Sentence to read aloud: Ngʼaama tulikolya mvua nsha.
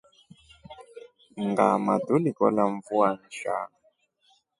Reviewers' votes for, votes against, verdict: 0, 2, rejected